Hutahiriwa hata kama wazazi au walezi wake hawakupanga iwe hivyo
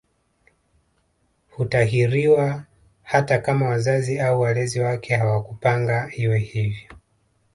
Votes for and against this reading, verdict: 2, 0, accepted